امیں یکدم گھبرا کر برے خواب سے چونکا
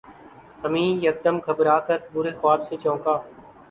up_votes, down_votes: 2, 0